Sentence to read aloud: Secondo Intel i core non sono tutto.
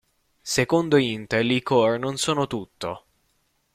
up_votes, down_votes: 0, 2